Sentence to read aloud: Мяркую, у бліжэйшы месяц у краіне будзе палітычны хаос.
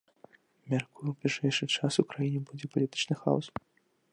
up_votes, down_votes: 1, 2